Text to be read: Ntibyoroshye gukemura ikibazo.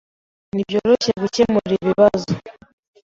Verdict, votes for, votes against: rejected, 1, 2